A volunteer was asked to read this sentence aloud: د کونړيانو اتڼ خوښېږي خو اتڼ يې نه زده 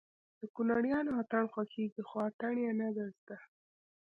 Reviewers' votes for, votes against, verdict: 2, 0, accepted